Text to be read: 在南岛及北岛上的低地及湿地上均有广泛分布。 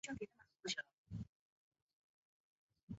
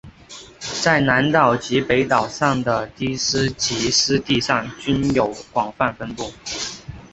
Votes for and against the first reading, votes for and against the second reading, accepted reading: 1, 3, 2, 1, second